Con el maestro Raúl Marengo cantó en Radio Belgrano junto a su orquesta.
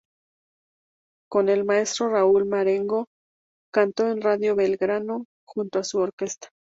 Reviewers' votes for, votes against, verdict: 2, 0, accepted